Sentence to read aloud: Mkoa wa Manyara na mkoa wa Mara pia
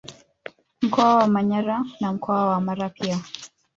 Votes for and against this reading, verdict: 1, 2, rejected